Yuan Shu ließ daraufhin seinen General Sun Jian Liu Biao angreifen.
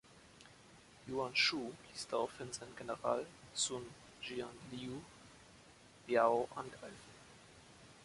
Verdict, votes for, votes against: accepted, 2, 1